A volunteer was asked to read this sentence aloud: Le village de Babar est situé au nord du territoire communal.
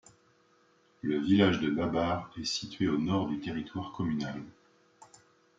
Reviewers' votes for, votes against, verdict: 2, 0, accepted